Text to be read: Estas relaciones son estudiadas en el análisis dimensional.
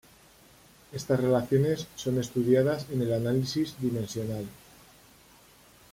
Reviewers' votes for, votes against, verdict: 2, 0, accepted